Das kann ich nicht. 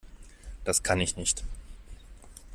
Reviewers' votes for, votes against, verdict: 2, 0, accepted